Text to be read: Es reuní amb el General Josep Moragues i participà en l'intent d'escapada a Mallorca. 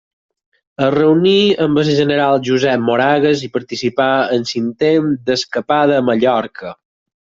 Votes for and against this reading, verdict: 4, 2, accepted